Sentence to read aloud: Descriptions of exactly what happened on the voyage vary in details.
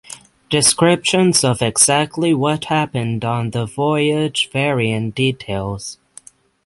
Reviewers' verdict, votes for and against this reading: accepted, 6, 0